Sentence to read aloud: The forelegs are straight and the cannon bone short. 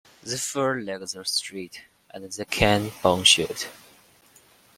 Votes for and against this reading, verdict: 3, 2, accepted